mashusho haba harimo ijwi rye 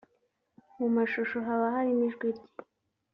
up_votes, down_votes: 2, 1